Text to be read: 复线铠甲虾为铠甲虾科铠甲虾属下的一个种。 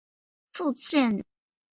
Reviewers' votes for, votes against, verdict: 0, 5, rejected